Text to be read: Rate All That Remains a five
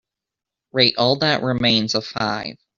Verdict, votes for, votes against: accepted, 2, 1